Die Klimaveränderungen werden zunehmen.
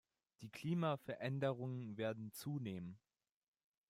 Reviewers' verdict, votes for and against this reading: accepted, 2, 1